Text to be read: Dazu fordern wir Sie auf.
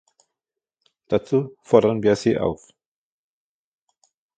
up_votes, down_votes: 2, 1